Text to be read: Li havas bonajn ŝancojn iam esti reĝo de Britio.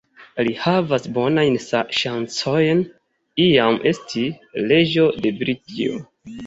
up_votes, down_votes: 1, 2